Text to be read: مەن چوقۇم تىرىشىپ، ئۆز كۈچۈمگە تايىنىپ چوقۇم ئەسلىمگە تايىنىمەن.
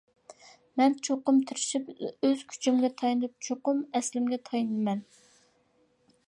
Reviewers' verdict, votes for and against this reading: accepted, 2, 0